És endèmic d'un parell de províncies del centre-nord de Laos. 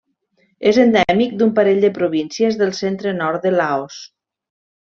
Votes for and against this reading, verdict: 2, 0, accepted